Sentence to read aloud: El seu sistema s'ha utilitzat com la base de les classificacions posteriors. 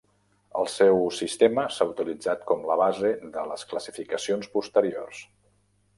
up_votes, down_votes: 3, 0